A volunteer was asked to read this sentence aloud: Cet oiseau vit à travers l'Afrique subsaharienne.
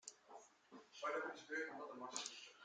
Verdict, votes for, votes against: rejected, 0, 2